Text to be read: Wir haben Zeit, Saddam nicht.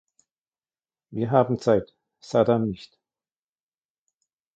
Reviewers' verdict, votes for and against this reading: rejected, 1, 2